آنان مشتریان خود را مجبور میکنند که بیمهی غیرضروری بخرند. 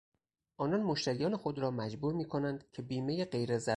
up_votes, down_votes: 0, 4